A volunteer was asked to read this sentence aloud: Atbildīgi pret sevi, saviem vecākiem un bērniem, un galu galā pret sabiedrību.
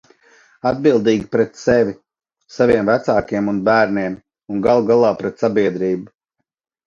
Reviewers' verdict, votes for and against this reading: accepted, 2, 0